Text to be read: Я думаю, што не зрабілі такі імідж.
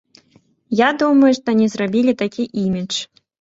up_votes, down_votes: 2, 1